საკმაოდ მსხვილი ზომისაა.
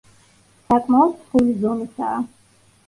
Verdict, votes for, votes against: rejected, 1, 2